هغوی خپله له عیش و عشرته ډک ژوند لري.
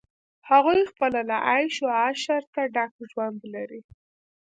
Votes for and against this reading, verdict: 2, 0, accepted